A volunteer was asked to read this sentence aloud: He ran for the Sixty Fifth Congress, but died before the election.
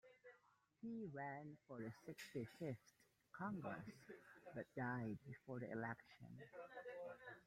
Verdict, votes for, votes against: accepted, 2, 1